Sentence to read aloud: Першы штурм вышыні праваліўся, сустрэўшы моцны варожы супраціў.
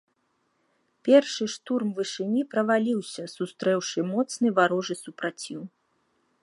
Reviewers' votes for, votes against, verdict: 2, 0, accepted